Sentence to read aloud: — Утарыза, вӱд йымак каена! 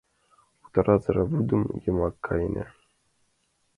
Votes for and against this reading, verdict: 0, 2, rejected